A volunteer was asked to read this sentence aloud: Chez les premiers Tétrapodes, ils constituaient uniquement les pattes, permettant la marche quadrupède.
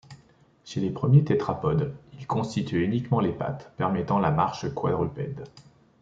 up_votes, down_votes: 2, 0